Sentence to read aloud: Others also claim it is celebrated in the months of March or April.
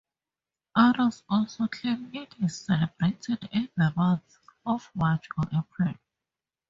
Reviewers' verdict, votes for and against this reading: accepted, 2, 0